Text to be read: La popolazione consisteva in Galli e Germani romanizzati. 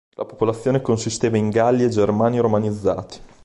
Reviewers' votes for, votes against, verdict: 3, 1, accepted